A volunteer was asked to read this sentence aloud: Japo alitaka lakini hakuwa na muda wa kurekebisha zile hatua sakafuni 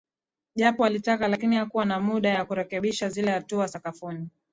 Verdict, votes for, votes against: accepted, 12, 1